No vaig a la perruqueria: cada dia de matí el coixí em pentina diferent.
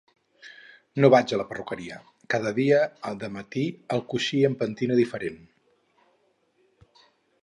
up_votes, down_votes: 2, 2